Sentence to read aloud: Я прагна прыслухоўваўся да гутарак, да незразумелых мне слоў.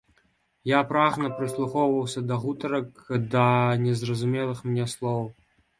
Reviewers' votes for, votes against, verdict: 4, 0, accepted